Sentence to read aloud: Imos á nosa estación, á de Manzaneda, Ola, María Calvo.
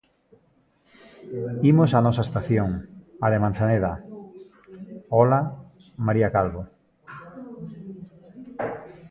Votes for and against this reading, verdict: 1, 2, rejected